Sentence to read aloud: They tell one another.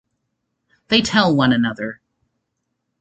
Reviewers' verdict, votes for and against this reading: accepted, 2, 0